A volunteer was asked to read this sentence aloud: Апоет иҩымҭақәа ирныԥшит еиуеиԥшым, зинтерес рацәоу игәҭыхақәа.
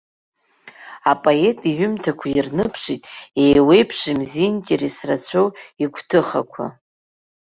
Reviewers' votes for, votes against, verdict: 0, 3, rejected